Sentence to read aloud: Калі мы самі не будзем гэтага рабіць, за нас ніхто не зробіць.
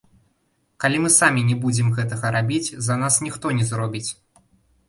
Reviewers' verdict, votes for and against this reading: rejected, 0, 2